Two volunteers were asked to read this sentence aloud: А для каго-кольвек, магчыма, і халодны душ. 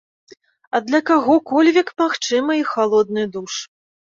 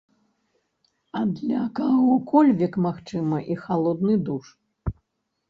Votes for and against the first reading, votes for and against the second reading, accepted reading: 2, 0, 0, 2, first